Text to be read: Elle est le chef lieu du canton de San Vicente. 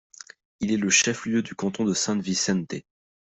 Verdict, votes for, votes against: rejected, 0, 2